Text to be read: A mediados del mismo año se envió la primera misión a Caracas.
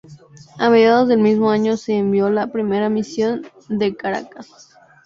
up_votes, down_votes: 2, 0